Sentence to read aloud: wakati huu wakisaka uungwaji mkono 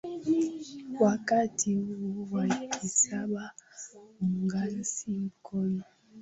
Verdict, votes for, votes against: rejected, 3, 9